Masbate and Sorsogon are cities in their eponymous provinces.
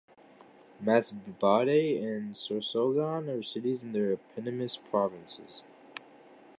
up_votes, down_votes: 2, 0